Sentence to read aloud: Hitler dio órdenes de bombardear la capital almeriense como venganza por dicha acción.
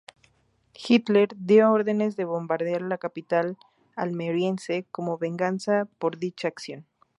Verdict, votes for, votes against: accepted, 4, 0